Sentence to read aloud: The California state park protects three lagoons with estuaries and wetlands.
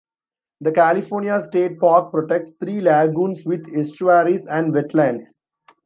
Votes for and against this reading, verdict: 2, 0, accepted